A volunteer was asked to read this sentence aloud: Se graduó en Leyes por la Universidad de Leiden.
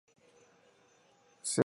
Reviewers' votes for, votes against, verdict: 0, 2, rejected